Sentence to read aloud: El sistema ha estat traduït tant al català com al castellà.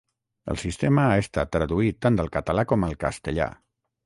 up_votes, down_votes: 0, 3